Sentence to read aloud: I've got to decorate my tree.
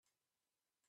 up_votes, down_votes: 0, 5